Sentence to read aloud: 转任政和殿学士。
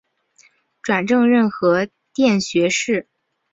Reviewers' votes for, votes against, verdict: 1, 2, rejected